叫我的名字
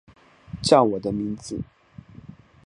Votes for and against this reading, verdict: 4, 0, accepted